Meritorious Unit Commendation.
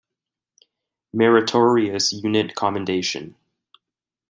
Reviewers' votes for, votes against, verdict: 2, 0, accepted